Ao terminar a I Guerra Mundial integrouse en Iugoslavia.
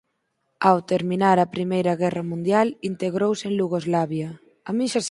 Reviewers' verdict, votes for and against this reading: accepted, 4, 2